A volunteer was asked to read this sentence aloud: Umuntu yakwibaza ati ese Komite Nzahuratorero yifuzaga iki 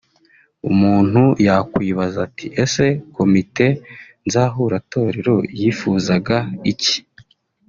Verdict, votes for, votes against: accepted, 2, 1